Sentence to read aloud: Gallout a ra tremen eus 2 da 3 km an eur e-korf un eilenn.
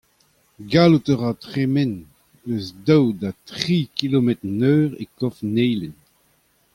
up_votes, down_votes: 0, 2